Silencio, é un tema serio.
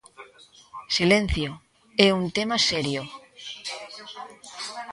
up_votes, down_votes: 2, 0